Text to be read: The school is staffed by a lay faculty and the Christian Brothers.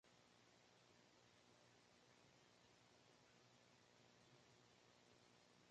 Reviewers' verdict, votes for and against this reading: rejected, 0, 2